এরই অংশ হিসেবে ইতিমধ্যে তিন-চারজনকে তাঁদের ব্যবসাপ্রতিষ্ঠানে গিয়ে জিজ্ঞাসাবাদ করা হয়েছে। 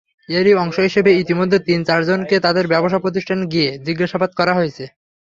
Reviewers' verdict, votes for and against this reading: accepted, 3, 0